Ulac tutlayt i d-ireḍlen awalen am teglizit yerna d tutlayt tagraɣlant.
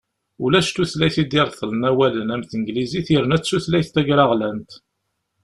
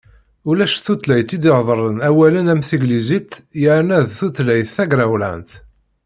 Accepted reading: first